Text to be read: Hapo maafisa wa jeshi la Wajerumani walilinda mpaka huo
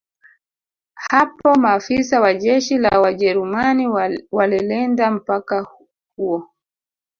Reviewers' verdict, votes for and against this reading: rejected, 1, 2